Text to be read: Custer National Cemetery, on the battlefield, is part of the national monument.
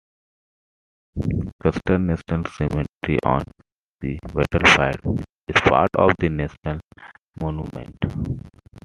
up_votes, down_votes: 2, 1